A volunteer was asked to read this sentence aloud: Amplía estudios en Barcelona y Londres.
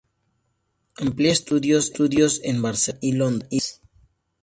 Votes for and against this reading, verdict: 0, 2, rejected